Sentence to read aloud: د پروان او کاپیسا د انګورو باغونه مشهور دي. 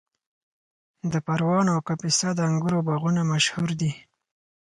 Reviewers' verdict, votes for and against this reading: accepted, 4, 0